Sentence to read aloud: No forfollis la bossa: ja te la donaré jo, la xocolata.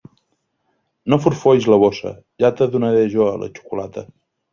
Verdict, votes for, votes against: rejected, 0, 2